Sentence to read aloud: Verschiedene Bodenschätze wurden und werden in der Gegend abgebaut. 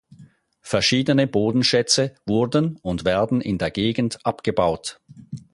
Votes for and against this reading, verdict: 4, 0, accepted